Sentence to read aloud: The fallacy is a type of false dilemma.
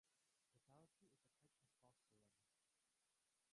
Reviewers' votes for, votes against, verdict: 0, 2, rejected